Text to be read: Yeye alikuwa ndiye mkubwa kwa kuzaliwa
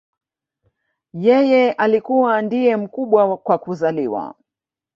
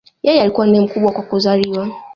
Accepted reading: second